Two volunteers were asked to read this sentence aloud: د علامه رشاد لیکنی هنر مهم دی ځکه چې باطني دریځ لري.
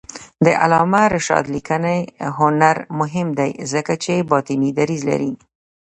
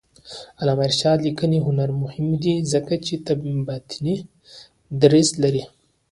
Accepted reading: second